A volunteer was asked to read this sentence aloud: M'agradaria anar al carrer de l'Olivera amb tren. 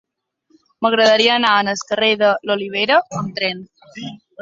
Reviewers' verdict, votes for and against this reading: rejected, 1, 3